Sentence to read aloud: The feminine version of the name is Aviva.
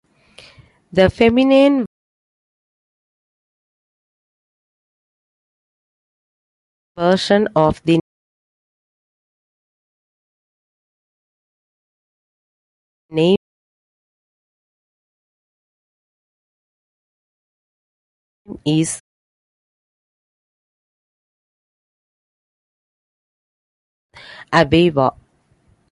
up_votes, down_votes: 0, 2